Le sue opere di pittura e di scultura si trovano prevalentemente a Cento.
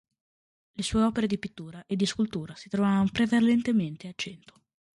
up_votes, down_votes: 1, 2